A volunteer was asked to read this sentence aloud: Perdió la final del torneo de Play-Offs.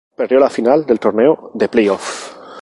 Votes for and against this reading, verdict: 2, 2, rejected